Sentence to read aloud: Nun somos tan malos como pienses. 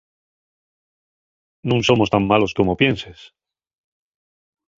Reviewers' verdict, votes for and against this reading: accepted, 2, 0